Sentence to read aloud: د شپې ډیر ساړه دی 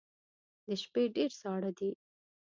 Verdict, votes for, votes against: accepted, 2, 0